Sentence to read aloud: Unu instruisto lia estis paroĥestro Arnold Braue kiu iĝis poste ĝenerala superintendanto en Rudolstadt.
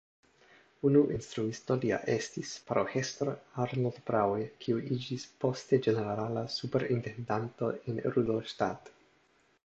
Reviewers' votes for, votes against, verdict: 1, 2, rejected